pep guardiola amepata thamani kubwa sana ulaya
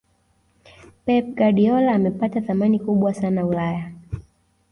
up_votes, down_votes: 0, 2